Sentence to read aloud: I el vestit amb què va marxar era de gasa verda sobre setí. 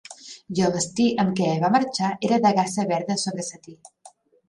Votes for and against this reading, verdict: 4, 3, accepted